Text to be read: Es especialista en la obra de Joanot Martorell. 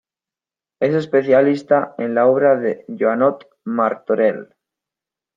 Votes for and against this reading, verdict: 2, 0, accepted